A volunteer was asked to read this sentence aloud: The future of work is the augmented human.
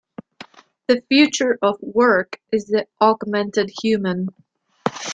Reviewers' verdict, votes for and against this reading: accepted, 2, 0